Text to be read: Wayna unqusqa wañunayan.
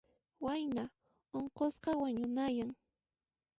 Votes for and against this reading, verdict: 2, 0, accepted